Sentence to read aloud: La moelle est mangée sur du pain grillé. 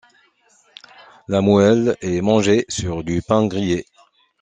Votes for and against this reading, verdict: 2, 0, accepted